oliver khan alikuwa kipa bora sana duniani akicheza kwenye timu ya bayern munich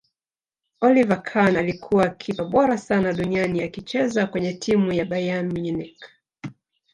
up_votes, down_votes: 2, 3